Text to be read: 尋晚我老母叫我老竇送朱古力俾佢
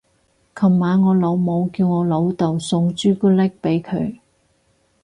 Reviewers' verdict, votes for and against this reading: rejected, 0, 4